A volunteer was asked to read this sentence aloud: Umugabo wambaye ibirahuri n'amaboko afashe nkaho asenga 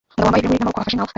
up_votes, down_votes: 0, 2